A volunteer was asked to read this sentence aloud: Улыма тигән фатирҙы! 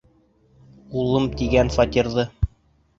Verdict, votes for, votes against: rejected, 1, 2